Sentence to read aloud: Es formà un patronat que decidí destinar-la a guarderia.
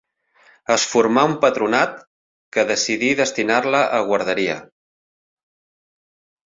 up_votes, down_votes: 4, 0